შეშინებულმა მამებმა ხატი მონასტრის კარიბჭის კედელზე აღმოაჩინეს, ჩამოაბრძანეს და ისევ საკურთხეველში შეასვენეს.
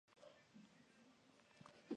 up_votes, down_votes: 1, 3